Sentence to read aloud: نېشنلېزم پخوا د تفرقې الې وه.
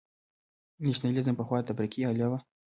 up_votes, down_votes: 2, 0